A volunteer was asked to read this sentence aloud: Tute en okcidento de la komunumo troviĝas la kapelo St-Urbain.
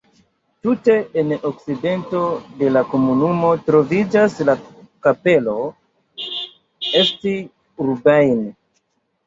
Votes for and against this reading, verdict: 2, 1, accepted